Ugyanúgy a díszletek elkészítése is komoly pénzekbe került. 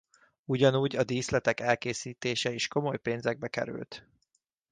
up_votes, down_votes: 2, 0